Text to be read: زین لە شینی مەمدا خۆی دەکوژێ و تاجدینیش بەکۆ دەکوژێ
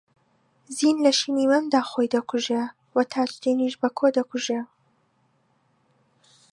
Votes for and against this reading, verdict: 2, 0, accepted